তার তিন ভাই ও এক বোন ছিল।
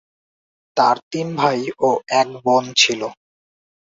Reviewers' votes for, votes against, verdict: 3, 0, accepted